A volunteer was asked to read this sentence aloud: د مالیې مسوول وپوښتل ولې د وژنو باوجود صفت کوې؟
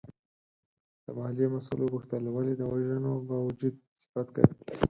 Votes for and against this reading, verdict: 0, 4, rejected